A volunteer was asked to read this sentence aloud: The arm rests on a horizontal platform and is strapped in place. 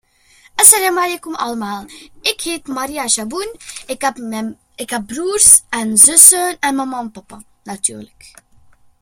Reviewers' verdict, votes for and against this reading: rejected, 0, 2